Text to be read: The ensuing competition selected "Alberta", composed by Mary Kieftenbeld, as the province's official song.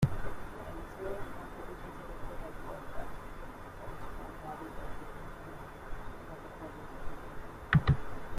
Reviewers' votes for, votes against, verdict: 0, 2, rejected